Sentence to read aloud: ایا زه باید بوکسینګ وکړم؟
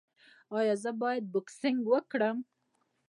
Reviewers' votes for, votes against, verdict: 2, 1, accepted